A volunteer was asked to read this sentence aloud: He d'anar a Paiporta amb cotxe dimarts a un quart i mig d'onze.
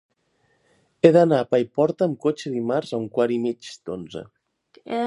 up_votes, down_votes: 3, 1